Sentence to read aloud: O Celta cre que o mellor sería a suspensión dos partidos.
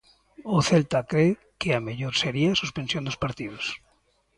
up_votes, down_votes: 0, 2